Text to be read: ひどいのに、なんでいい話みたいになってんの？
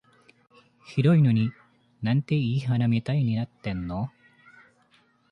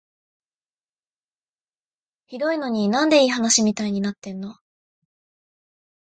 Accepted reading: second